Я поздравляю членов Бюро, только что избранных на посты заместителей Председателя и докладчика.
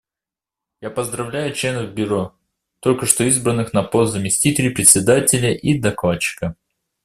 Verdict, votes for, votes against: rejected, 0, 2